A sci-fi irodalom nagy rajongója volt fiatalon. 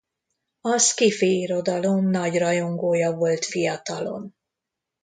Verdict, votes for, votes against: accepted, 2, 0